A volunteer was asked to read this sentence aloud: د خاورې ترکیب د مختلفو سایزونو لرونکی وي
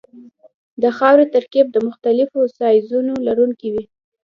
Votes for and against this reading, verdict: 2, 0, accepted